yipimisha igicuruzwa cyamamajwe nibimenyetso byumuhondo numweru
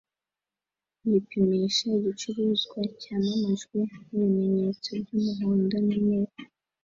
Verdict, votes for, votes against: accepted, 2, 0